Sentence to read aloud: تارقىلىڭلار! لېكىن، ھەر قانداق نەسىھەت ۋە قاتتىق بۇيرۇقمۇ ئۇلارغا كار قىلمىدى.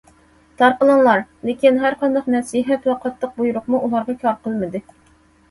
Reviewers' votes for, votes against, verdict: 2, 0, accepted